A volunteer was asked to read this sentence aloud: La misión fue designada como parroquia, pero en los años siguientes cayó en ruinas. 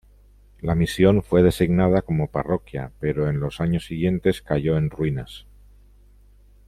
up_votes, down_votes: 2, 0